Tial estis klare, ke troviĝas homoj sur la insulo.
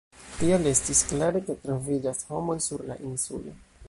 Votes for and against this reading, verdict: 1, 2, rejected